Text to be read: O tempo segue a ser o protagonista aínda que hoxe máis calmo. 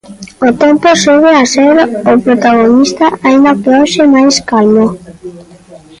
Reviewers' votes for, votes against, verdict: 2, 0, accepted